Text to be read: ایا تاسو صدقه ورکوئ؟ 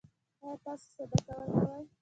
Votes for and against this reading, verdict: 2, 0, accepted